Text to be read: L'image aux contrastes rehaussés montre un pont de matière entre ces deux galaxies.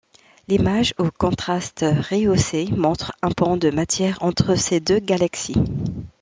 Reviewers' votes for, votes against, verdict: 2, 0, accepted